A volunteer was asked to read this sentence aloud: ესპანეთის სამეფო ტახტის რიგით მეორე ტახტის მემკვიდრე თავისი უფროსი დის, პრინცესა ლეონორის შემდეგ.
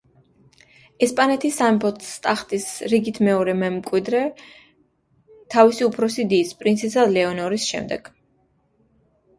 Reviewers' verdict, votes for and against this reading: rejected, 0, 2